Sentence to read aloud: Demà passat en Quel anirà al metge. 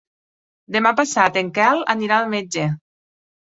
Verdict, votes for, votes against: accepted, 3, 0